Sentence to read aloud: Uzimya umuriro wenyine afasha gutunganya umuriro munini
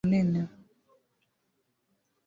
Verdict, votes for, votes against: rejected, 0, 2